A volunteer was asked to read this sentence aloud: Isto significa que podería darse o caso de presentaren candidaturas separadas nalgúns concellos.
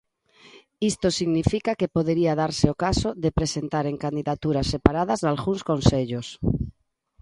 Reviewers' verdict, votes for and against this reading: accepted, 2, 0